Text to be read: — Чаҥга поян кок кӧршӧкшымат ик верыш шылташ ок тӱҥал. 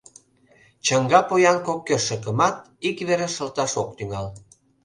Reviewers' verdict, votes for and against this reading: rejected, 1, 2